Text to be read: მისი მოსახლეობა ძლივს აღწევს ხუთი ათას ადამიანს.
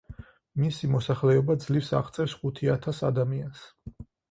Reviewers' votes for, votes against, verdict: 4, 0, accepted